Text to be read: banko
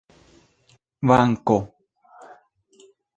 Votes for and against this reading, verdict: 2, 1, accepted